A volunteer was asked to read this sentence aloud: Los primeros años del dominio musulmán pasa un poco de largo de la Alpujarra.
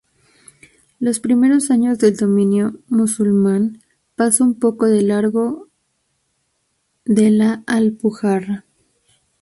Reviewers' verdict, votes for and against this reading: accepted, 6, 2